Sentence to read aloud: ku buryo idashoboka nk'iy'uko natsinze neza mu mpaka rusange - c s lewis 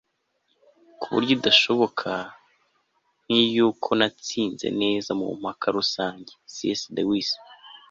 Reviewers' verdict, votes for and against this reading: accepted, 2, 0